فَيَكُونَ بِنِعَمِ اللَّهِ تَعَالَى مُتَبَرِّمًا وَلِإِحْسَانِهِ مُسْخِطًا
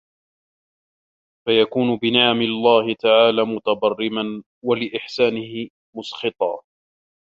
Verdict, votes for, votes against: rejected, 0, 2